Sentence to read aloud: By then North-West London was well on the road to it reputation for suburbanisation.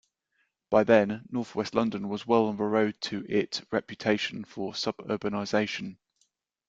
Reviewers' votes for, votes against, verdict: 2, 1, accepted